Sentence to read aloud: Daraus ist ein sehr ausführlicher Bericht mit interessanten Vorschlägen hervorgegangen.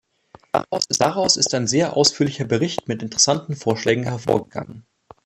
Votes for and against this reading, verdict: 1, 2, rejected